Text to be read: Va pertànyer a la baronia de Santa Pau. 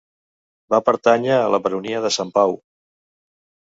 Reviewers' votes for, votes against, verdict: 0, 2, rejected